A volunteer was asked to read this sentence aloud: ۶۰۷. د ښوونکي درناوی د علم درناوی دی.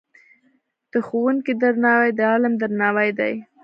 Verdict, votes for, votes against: rejected, 0, 2